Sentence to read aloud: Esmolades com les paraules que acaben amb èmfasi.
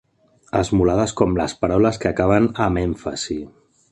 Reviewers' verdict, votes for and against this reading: accepted, 2, 0